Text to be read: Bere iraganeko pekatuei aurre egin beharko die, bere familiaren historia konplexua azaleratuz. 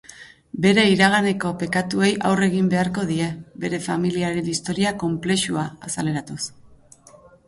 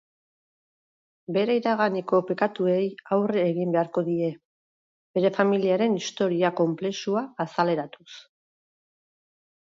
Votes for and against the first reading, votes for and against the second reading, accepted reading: 4, 0, 2, 2, first